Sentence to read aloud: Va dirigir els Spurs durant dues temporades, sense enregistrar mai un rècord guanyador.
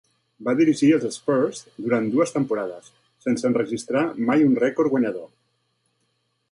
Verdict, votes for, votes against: accepted, 2, 0